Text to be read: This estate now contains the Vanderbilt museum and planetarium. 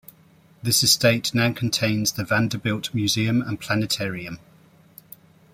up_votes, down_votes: 2, 0